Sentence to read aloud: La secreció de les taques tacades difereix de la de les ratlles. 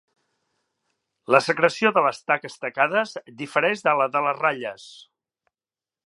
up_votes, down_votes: 3, 0